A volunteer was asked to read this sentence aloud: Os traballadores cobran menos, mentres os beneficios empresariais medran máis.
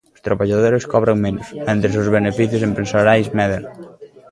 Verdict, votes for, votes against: rejected, 1, 2